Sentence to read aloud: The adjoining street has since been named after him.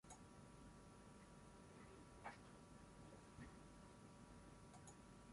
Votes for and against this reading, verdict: 0, 6, rejected